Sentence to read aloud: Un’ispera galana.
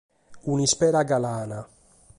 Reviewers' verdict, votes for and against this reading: accepted, 2, 0